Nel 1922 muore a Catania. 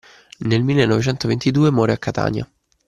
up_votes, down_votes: 0, 2